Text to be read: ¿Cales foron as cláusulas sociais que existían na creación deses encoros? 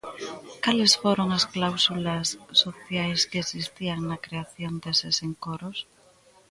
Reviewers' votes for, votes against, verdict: 1, 2, rejected